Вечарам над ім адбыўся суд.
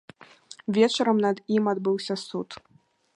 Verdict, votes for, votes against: accepted, 2, 0